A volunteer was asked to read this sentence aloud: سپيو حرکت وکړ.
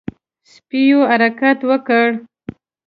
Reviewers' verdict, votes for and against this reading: accepted, 2, 0